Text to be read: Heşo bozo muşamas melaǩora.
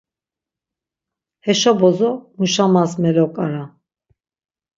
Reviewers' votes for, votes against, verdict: 3, 6, rejected